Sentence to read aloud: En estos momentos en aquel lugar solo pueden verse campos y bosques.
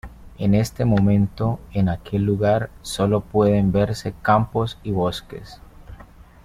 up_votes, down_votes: 2, 0